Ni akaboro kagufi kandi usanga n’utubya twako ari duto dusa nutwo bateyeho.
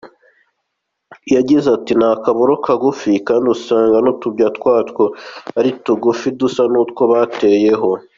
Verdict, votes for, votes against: rejected, 0, 2